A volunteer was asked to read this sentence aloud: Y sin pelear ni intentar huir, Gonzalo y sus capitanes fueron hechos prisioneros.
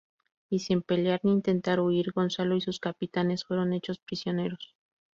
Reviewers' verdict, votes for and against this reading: accepted, 2, 0